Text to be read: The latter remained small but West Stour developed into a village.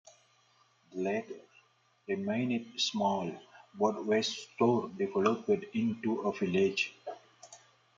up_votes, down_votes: 0, 2